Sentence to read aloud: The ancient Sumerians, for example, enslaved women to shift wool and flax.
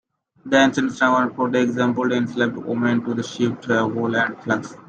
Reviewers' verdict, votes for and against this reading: rejected, 0, 2